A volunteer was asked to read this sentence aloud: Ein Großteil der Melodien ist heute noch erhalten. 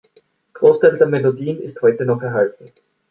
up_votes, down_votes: 0, 2